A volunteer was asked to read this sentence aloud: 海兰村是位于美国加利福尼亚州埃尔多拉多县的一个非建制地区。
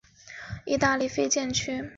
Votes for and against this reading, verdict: 0, 2, rejected